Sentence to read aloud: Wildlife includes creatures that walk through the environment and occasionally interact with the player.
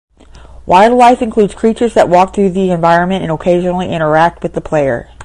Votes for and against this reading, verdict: 10, 0, accepted